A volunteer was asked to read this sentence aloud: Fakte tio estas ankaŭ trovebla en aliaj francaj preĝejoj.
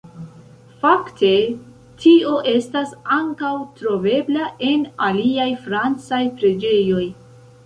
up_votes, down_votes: 2, 1